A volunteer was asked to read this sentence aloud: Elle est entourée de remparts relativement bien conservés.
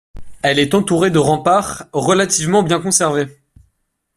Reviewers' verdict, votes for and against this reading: accepted, 2, 0